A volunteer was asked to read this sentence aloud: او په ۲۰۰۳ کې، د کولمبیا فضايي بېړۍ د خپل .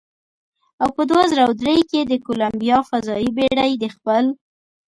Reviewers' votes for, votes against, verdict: 0, 2, rejected